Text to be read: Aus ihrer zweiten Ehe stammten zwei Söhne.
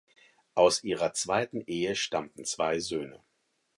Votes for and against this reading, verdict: 4, 0, accepted